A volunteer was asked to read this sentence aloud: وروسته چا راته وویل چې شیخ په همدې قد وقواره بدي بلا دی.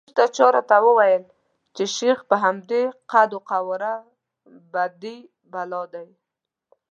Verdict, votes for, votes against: rejected, 0, 2